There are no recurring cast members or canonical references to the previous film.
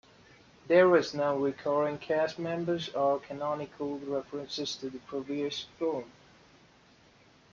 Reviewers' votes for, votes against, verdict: 1, 2, rejected